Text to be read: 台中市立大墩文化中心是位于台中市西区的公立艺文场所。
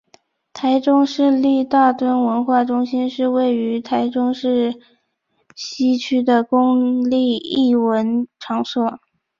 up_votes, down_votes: 2, 0